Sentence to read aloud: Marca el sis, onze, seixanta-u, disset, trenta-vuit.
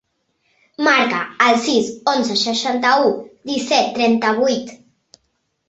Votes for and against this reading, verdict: 3, 0, accepted